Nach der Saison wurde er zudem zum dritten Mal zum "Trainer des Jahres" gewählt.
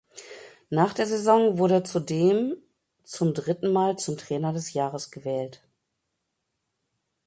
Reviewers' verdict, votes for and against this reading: rejected, 1, 2